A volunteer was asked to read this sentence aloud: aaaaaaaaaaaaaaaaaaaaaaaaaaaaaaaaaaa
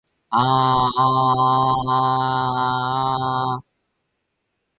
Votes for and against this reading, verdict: 4, 2, accepted